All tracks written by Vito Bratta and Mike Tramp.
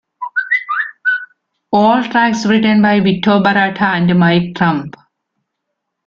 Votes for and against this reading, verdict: 2, 0, accepted